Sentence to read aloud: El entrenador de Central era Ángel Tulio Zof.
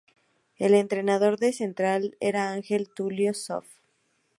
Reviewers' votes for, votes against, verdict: 2, 0, accepted